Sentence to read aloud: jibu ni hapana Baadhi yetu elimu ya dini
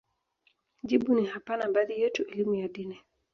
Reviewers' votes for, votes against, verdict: 2, 0, accepted